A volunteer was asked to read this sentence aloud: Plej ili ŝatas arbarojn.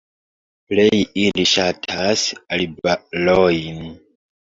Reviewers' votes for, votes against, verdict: 1, 2, rejected